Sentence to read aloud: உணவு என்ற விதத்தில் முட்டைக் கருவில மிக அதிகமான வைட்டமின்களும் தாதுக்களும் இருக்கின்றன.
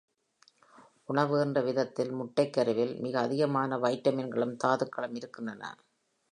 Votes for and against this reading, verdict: 2, 1, accepted